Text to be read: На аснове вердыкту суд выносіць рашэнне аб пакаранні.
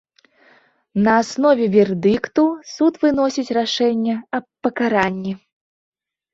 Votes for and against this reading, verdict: 2, 0, accepted